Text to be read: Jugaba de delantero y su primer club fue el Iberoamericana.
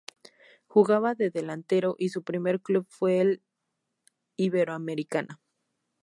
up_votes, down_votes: 2, 2